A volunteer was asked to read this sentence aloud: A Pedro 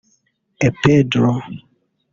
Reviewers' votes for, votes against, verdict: 0, 2, rejected